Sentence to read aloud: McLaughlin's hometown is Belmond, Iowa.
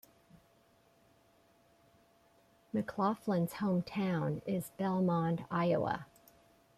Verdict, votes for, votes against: accepted, 2, 0